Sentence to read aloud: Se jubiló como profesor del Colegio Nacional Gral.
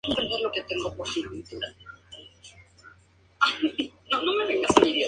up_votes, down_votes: 0, 2